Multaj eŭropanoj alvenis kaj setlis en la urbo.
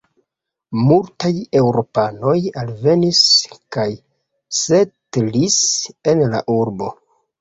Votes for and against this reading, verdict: 2, 0, accepted